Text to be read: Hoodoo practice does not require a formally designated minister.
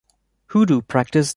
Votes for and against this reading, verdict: 0, 2, rejected